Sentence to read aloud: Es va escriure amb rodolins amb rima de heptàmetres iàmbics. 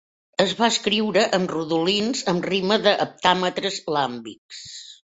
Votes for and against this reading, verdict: 1, 2, rejected